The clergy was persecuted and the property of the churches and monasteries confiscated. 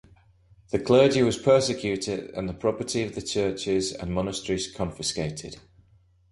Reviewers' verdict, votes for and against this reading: accepted, 2, 0